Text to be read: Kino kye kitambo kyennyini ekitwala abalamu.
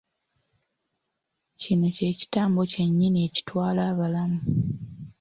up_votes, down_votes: 2, 0